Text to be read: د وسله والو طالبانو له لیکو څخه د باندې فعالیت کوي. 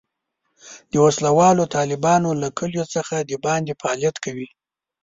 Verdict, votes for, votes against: rejected, 1, 3